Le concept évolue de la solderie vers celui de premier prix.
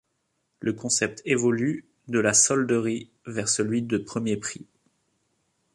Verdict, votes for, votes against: accepted, 2, 0